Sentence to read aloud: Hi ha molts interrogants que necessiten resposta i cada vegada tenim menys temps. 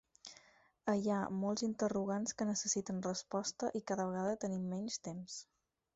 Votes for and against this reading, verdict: 4, 2, accepted